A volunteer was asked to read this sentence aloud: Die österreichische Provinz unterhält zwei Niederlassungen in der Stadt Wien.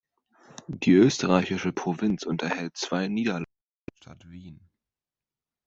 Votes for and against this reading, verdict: 0, 2, rejected